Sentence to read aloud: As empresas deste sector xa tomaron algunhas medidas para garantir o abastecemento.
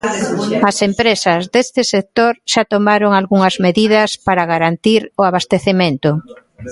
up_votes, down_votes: 1, 2